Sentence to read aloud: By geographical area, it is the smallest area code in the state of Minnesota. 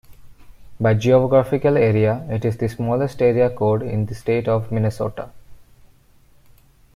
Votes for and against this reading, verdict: 2, 0, accepted